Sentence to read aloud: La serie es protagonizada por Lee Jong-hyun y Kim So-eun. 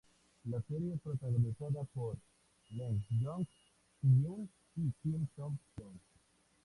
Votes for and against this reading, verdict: 0, 2, rejected